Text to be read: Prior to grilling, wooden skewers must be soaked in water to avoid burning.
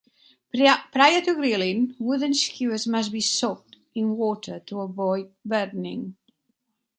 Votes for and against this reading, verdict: 1, 2, rejected